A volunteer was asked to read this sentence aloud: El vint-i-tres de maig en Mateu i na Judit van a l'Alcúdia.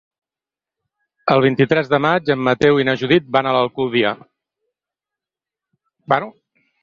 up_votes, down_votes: 2, 4